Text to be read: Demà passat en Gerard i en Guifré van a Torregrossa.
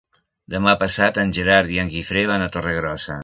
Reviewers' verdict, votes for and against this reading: accepted, 3, 0